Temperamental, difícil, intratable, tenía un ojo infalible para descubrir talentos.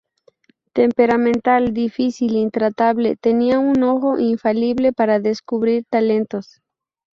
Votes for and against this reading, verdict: 2, 0, accepted